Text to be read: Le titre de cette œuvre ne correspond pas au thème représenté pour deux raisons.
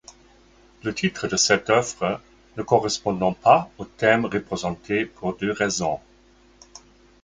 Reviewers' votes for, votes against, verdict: 2, 1, accepted